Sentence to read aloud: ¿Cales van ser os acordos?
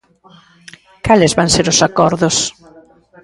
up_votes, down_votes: 0, 2